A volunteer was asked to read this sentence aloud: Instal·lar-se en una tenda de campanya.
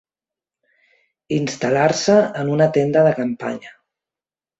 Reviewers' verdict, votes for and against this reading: accepted, 2, 0